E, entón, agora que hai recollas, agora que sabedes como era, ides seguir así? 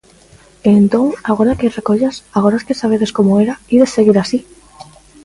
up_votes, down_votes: 2, 0